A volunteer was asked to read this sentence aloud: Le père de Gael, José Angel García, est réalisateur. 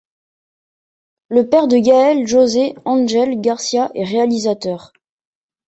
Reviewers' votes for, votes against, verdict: 2, 0, accepted